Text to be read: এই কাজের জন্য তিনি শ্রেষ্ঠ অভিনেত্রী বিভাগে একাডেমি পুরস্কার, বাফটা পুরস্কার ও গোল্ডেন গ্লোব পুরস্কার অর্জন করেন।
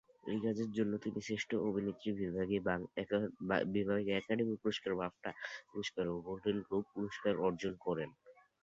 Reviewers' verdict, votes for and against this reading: rejected, 0, 2